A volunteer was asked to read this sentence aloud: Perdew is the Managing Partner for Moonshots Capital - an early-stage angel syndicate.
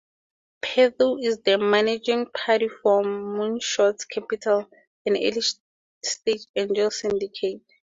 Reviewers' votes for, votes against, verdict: 2, 6, rejected